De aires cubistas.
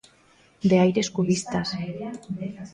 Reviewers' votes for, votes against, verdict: 1, 2, rejected